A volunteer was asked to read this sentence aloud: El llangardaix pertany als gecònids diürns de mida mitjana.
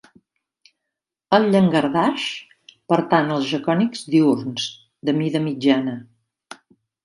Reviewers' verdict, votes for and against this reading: accepted, 2, 0